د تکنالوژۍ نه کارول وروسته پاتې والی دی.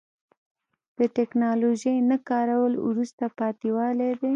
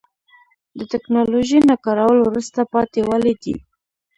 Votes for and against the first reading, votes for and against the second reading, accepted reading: 1, 2, 2, 0, second